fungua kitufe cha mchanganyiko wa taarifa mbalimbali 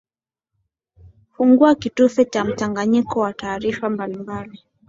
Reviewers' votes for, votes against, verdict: 2, 0, accepted